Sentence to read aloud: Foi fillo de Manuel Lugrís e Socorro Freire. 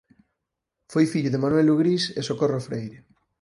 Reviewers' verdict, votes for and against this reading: accepted, 4, 2